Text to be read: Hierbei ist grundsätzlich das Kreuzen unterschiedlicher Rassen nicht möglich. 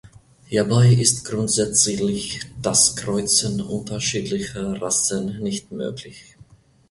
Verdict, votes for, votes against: rejected, 1, 2